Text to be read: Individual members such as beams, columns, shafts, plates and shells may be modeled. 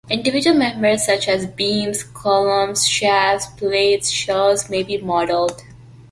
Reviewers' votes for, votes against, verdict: 1, 2, rejected